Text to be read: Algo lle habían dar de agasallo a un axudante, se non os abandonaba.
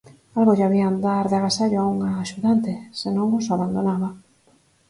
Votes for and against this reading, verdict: 4, 0, accepted